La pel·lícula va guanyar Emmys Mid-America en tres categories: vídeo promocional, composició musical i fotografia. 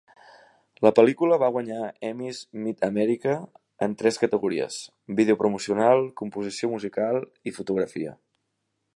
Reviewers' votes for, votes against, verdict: 2, 0, accepted